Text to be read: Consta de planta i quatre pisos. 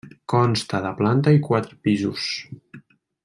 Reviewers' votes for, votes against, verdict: 1, 2, rejected